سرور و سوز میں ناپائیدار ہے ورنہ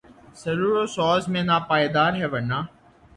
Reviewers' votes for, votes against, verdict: 3, 3, rejected